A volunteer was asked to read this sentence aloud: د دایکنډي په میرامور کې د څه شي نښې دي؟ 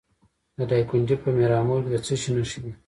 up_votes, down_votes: 1, 2